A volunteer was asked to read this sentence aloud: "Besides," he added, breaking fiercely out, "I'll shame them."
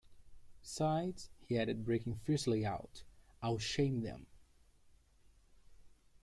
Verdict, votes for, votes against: rejected, 0, 2